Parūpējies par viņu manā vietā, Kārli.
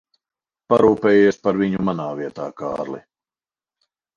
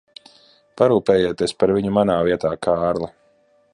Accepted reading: first